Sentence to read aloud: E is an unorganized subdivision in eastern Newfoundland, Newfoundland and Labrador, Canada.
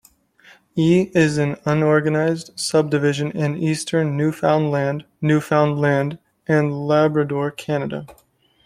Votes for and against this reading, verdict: 2, 0, accepted